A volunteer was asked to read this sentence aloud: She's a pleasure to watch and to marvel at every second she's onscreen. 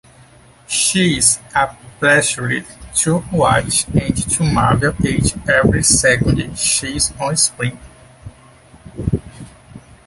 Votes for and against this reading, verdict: 1, 2, rejected